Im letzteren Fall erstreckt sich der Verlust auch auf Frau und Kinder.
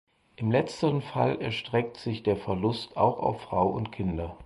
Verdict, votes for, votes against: accepted, 4, 0